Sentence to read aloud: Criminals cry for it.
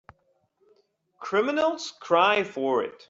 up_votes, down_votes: 3, 0